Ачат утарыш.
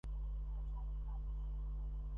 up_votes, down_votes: 0, 2